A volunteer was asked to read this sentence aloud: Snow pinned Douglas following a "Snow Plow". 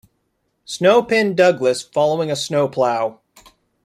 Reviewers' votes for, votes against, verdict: 2, 0, accepted